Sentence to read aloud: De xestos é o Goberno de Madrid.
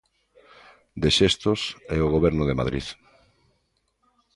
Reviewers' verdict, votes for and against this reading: accepted, 2, 0